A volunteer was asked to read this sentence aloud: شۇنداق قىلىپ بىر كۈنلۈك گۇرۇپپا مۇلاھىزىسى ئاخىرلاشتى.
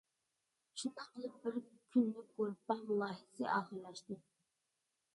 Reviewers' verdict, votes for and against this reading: rejected, 0, 2